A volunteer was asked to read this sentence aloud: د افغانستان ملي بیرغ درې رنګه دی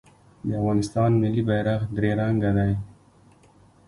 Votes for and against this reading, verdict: 2, 0, accepted